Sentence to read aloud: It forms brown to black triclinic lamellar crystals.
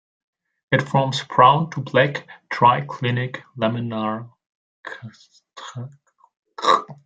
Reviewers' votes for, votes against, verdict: 0, 2, rejected